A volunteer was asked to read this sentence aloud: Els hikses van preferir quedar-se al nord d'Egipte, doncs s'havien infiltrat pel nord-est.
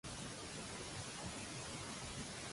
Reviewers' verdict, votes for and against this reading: rejected, 0, 2